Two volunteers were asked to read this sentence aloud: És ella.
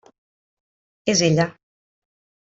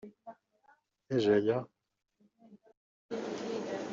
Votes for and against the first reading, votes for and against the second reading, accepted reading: 3, 0, 1, 2, first